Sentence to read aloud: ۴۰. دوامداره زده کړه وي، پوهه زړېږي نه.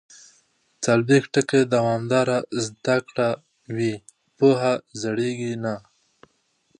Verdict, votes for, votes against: rejected, 0, 2